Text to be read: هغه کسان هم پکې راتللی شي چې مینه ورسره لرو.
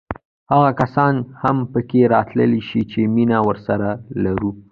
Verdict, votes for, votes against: rejected, 1, 2